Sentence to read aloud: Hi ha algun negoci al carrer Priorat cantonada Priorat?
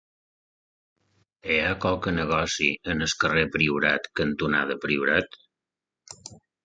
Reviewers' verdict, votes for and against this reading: accepted, 2, 1